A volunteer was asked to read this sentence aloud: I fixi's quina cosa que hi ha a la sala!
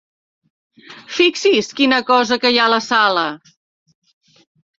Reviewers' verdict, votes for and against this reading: rejected, 1, 2